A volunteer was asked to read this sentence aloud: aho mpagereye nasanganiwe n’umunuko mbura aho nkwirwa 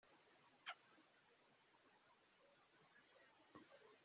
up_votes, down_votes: 1, 3